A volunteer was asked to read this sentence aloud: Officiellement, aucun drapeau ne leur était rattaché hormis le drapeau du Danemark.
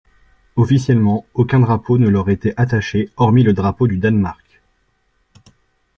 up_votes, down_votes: 1, 2